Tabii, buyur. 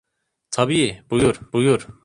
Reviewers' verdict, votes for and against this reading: rejected, 0, 2